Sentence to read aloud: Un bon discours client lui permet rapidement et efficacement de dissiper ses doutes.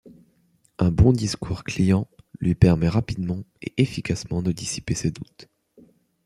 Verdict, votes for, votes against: accepted, 2, 0